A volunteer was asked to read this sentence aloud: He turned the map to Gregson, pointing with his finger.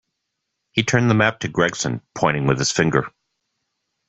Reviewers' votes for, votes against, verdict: 2, 0, accepted